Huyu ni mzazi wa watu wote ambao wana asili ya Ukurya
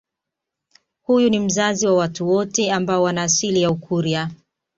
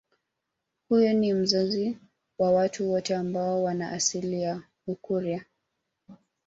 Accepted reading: second